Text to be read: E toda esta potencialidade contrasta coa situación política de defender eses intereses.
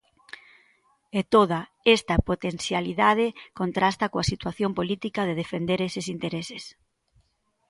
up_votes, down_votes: 2, 0